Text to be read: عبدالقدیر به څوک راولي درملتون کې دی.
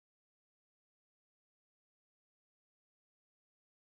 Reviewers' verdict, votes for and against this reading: rejected, 1, 2